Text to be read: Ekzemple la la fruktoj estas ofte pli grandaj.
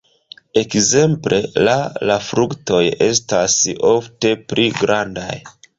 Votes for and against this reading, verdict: 2, 0, accepted